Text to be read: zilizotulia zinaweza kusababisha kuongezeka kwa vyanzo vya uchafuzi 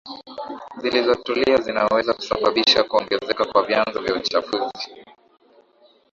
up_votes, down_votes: 0, 2